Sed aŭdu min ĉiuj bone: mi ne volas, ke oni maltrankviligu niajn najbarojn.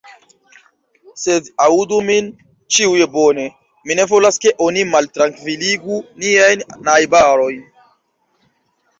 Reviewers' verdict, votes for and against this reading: rejected, 1, 2